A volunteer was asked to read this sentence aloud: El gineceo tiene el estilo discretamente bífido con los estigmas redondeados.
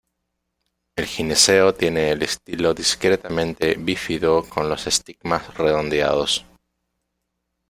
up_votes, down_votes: 1, 2